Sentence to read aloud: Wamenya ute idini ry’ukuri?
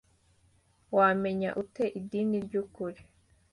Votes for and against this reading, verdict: 2, 1, accepted